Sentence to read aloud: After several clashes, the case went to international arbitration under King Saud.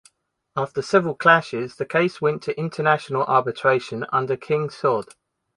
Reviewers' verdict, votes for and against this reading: accepted, 2, 0